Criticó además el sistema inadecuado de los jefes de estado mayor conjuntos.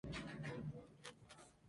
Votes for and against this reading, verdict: 0, 2, rejected